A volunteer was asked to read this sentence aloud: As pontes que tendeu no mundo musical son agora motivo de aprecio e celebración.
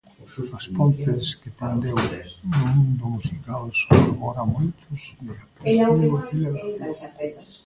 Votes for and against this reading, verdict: 0, 2, rejected